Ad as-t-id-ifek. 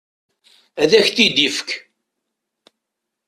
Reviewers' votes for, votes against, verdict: 0, 2, rejected